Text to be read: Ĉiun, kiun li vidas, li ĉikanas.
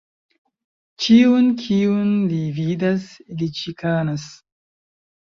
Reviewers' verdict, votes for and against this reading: accepted, 2, 0